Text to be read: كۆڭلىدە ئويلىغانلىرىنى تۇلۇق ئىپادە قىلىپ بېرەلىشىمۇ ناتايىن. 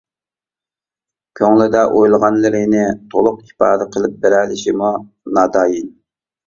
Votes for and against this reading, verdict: 2, 0, accepted